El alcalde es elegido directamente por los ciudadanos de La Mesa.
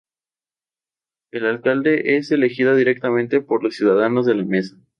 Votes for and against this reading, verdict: 2, 0, accepted